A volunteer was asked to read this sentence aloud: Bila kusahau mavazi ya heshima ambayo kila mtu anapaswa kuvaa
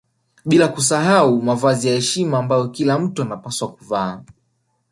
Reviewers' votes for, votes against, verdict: 0, 2, rejected